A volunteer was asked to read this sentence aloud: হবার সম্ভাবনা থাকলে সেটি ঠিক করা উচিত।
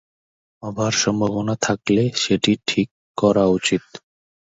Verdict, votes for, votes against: accepted, 2, 0